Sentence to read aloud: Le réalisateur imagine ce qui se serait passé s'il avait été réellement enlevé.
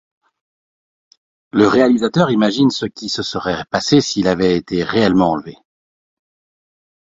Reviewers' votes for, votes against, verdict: 1, 2, rejected